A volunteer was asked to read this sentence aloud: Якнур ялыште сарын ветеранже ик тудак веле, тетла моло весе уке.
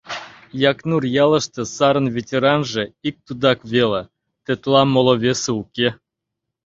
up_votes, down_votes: 2, 0